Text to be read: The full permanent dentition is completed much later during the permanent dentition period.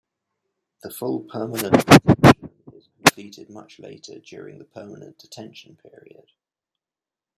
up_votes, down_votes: 0, 2